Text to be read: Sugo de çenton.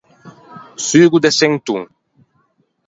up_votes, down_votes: 0, 4